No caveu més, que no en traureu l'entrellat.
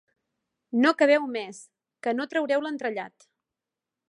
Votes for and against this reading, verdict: 0, 2, rejected